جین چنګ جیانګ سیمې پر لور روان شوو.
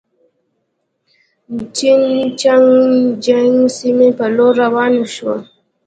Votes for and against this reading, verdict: 2, 0, accepted